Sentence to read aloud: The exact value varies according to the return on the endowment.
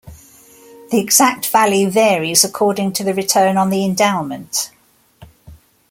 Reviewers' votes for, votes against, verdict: 2, 0, accepted